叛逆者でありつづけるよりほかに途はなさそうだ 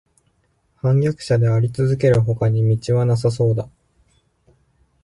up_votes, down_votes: 0, 2